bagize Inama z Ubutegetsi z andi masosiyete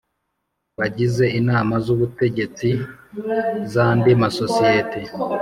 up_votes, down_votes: 3, 0